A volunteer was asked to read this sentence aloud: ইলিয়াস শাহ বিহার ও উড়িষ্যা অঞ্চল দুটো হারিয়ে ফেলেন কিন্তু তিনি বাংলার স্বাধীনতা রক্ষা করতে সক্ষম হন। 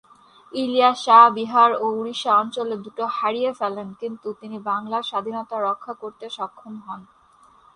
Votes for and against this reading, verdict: 2, 2, rejected